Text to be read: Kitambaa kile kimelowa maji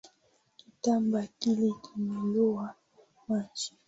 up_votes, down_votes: 2, 1